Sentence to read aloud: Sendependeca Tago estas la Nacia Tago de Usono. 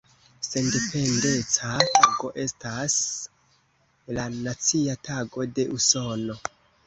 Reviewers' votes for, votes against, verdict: 1, 2, rejected